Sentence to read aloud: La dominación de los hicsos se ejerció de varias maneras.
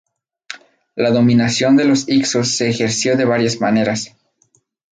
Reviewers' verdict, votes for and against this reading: rejected, 2, 2